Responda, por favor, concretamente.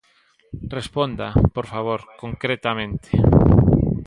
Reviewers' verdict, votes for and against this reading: accepted, 2, 0